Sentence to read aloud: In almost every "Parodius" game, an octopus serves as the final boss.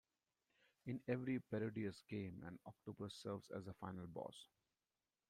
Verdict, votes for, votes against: rejected, 1, 2